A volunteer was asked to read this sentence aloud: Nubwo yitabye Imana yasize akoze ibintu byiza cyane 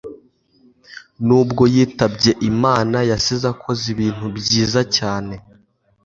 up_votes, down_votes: 2, 0